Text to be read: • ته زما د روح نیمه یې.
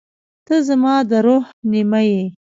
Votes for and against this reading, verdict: 0, 2, rejected